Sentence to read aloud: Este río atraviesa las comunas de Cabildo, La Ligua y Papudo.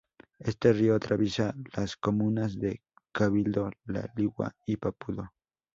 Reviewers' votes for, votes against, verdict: 2, 0, accepted